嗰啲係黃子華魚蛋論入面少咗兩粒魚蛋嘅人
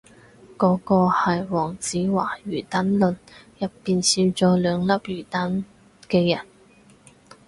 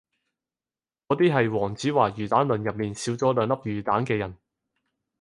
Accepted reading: second